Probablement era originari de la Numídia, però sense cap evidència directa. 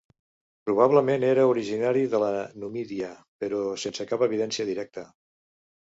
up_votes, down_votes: 2, 0